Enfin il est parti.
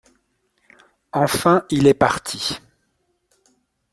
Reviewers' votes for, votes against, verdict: 2, 0, accepted